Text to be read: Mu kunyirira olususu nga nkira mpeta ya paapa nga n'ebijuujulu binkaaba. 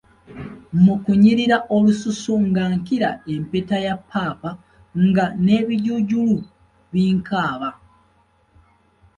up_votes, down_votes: 2, 0